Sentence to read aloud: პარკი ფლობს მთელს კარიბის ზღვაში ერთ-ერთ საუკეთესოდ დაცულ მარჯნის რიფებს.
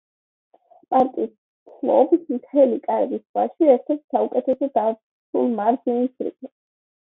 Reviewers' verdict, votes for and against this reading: accepted, 2, 0